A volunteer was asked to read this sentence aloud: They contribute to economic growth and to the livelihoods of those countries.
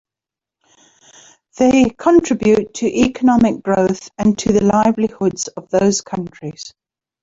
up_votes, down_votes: 2, 1